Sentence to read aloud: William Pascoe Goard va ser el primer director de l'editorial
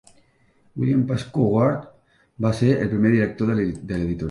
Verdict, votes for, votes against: rejected, 0, 2